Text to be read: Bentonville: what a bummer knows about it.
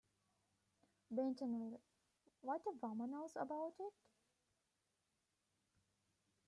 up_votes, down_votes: 2, 1